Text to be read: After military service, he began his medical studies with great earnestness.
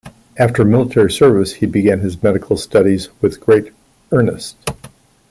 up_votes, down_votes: 0, 3